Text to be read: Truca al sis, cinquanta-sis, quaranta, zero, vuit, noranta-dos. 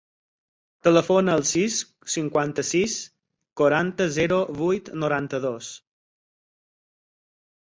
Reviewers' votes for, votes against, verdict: 2, 4, rejected